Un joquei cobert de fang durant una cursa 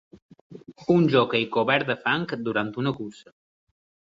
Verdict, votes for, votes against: accepted, 2, 0